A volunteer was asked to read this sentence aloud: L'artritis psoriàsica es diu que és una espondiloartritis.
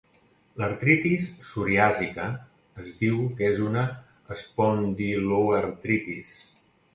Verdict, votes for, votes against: accepted, 2, 0